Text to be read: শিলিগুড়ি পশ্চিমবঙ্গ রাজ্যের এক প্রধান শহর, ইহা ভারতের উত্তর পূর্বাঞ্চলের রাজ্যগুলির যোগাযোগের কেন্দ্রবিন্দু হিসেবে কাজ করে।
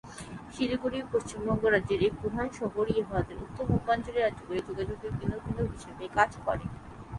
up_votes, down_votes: 3, 0